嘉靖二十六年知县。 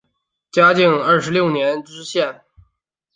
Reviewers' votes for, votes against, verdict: 2, 0, accepted